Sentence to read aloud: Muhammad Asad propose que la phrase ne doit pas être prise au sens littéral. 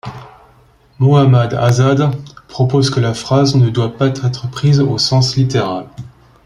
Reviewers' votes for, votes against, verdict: 1, 2, rejected